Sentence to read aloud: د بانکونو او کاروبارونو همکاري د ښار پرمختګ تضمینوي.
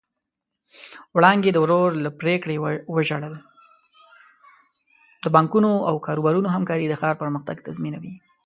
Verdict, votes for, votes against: rejected, 0, 2